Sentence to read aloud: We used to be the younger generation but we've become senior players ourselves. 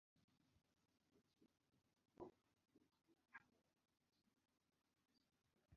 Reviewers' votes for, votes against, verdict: 0, 2, rejected